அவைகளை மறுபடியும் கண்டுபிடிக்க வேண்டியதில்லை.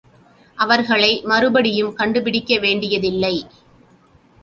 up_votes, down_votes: 1, 2